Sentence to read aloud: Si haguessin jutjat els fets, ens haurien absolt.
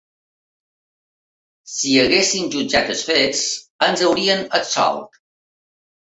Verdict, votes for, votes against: accepted, 3, 0